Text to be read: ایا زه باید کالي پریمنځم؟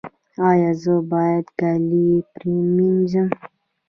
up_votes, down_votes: 1, 2